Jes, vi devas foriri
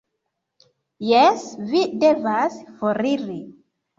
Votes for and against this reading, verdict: 2, 0, accepted